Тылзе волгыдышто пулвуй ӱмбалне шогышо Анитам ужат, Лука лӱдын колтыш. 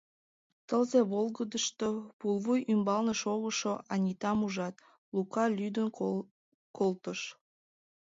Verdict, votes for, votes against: rejected, 0, 2